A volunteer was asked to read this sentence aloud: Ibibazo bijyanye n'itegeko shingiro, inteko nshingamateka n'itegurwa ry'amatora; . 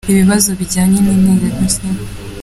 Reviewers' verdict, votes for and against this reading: rejected, 0, 3